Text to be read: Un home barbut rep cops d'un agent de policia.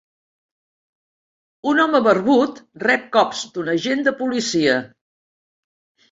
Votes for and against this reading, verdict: 3, 0, accepted